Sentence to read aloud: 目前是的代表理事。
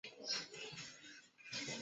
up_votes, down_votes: 0, 2